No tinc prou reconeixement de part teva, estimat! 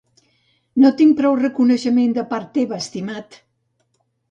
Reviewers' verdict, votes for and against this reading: accepted, 2, 0